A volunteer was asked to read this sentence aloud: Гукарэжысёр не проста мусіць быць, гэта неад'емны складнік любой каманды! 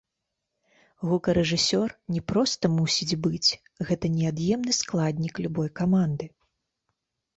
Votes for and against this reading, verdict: 2, 0, accepted